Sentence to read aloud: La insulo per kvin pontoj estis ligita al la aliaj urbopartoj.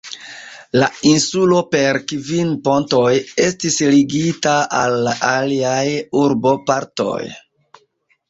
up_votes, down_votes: 2, 1